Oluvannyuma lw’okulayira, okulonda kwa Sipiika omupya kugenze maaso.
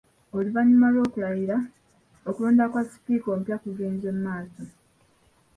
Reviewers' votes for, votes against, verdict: 2, 0, accepted